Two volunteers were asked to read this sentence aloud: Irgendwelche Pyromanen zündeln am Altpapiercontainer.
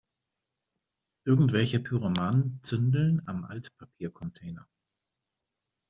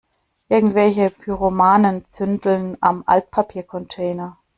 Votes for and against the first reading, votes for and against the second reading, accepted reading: 2, 0, 0, 2, first